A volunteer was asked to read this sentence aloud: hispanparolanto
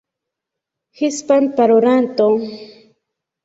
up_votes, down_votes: 2, 1